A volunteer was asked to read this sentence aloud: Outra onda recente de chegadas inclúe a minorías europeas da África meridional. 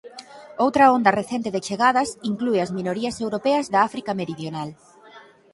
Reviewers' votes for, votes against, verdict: 0, 6, rejected